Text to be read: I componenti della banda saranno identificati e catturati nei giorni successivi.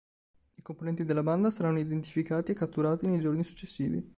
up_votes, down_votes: 3, 0